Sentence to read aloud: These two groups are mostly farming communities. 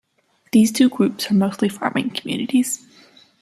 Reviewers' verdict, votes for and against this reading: accepted, 2, 0